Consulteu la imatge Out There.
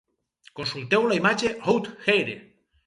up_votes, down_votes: 2, 4